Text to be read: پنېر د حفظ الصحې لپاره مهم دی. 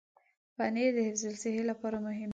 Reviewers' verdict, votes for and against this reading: accepted, 2, 1